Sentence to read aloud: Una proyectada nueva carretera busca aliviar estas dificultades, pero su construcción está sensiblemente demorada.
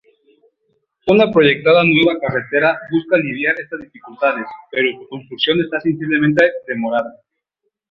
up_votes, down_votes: 0, 2